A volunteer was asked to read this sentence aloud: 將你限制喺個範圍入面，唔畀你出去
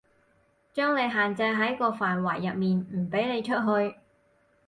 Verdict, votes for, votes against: accepted, 4, 0